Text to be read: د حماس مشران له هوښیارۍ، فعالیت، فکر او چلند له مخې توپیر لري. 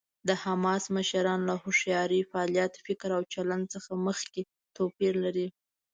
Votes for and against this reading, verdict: 1, 2, rejected